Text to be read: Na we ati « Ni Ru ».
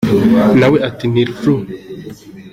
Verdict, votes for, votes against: accepted, 2, 1